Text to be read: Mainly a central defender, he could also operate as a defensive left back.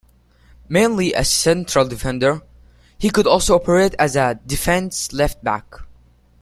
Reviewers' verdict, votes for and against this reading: rejected, 0, 2